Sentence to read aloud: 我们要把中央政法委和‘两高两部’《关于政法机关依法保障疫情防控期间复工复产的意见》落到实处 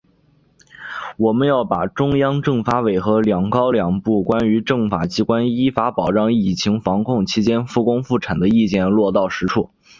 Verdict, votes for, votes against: accepted, 4, 0